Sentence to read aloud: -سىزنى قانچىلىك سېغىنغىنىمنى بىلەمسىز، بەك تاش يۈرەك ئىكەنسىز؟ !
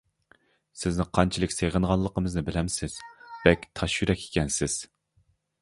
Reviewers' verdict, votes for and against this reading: rejected, 0, 2